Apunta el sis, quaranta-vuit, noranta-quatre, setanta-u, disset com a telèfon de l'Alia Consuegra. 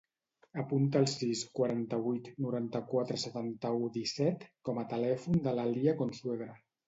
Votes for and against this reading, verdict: 2, 0, accepted